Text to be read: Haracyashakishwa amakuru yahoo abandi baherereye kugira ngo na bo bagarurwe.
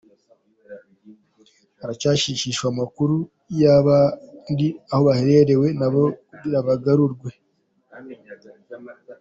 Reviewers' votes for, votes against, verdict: 0, 2, rejected